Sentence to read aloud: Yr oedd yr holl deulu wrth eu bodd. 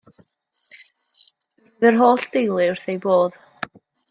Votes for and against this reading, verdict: 1, 2, rejected